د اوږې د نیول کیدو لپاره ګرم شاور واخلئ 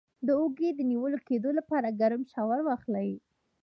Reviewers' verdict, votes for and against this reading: rejected, 1, 2